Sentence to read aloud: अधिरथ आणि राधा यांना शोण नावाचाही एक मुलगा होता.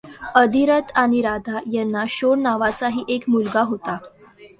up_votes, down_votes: 2, 0